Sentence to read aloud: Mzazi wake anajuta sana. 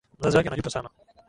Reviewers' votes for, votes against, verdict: 0, 2, rejected